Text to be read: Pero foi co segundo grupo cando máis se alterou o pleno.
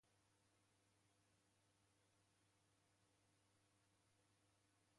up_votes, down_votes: 0, 2